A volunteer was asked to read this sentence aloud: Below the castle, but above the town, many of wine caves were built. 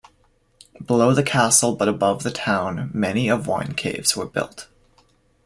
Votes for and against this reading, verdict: 2, 0, accepted